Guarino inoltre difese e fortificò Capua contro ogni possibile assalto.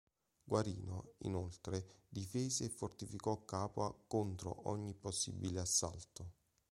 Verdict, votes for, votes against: accepted, 2, 0